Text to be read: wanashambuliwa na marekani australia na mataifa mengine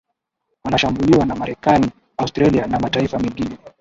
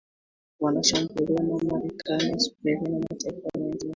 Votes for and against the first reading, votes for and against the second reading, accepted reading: 2, 0, 1, 2, first